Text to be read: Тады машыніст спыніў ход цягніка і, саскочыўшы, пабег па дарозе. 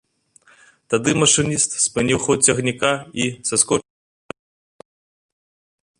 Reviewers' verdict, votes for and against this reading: rejected, 0, 2